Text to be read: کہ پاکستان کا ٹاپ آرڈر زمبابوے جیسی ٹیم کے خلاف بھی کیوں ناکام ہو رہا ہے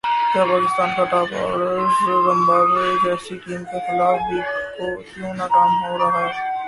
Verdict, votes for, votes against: rejected, 0, 2